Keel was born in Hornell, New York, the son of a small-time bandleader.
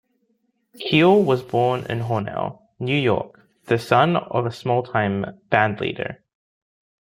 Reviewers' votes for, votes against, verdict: 1, 2, rejected